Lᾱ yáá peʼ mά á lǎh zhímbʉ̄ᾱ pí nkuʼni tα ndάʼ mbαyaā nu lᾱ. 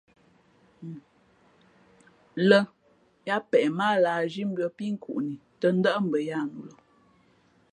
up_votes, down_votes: 2, 0